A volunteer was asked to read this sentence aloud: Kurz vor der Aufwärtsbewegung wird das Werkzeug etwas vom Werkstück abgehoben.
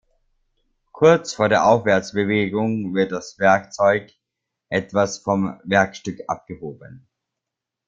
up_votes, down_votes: 2, 0